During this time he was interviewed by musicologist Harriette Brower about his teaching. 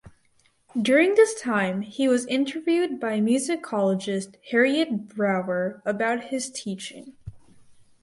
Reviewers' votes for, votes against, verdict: 4, 0, accepted